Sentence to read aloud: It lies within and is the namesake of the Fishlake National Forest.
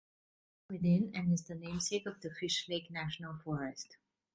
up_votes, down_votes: 1, 2